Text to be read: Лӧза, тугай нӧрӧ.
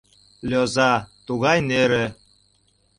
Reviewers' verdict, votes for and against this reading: accepted, 2, 1